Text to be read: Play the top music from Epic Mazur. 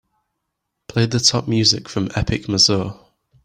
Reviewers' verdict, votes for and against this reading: accepted, 2, 0